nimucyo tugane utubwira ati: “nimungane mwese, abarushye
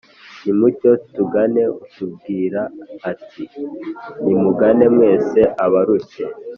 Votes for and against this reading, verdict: 4, 0, accepted